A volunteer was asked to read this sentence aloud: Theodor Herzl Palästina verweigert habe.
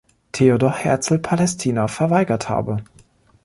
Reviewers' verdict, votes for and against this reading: rejected, 1, 2